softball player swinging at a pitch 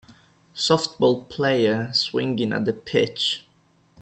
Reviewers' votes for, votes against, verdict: 2, 0, accepted